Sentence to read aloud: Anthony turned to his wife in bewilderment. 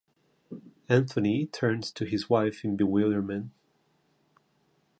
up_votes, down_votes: 3, 0